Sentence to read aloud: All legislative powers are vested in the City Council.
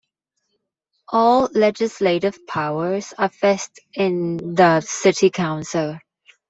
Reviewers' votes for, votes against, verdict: 0, 2, rejected